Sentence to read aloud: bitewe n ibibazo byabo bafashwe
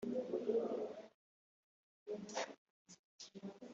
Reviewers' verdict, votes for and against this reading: rejected, 1, 3